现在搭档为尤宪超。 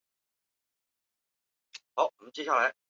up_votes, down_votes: 1, 4